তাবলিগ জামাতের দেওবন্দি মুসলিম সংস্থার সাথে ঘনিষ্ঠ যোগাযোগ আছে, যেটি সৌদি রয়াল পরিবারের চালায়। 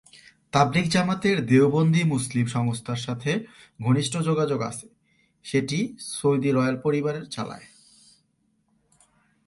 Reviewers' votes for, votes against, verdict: 0, 2, rejected